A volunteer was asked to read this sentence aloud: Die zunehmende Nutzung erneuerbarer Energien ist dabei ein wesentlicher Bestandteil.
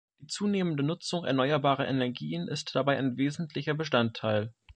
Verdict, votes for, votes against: rejected, 0, 2